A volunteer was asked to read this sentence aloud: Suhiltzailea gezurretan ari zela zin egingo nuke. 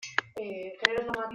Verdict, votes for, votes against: rejected, 0, 2